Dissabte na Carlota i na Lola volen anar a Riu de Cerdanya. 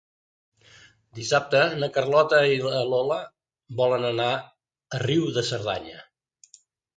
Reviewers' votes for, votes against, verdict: 1, 2, rejected